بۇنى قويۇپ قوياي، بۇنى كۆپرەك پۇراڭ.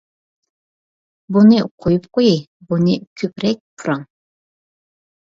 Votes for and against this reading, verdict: 2, 0, accepted